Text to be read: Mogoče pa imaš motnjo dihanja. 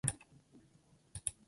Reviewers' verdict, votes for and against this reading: rejected, 0, 2